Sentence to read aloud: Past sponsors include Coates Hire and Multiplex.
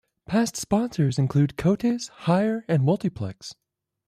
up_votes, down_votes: 2, 0